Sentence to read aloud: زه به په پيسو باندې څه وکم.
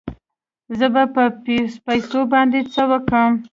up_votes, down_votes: 2, 0